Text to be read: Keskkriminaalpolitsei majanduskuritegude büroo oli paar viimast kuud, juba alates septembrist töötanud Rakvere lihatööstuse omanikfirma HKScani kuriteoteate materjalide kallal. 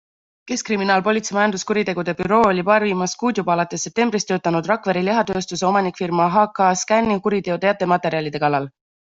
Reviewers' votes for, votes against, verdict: 2, 1, accepted